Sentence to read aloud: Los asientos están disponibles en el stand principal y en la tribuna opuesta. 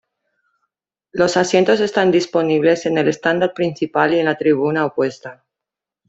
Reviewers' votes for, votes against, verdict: 2, 0, accepted